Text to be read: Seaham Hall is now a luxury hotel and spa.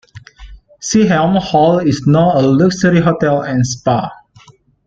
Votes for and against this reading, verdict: 2, 0, accepted